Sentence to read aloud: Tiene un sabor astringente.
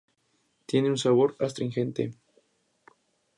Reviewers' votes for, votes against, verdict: 2, 0, accepted